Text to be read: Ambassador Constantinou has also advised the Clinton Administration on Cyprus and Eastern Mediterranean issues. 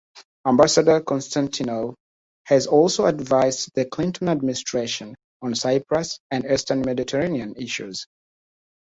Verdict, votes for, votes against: accepted, 2, 0